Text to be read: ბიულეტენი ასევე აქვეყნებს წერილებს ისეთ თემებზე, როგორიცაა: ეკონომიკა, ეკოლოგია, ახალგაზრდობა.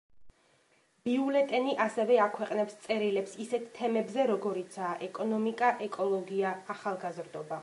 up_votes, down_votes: 2, 0